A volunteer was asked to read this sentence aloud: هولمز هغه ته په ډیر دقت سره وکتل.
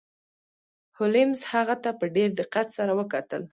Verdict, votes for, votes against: rejected, 1, 2